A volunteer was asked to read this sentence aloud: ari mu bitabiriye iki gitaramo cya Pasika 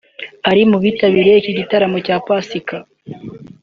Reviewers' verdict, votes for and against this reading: accepted, 2, 0